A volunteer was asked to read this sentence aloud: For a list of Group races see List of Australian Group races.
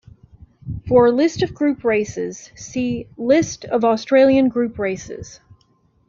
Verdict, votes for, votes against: accepted, 2, 0